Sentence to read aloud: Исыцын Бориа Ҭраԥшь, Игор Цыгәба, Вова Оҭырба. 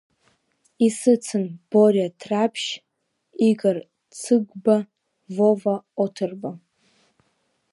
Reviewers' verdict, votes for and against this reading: accepted, 2, 1